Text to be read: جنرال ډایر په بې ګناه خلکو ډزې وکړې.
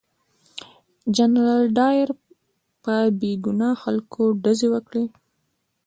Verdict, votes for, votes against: rejected, 1, 2